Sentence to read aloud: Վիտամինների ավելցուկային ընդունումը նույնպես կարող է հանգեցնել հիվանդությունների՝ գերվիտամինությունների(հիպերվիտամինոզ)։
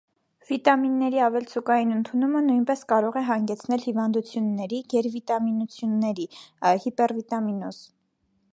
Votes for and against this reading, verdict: 1, 2, rejected